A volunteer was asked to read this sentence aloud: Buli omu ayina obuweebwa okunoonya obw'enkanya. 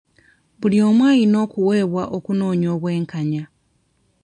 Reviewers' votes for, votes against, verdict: 0, 2, rejected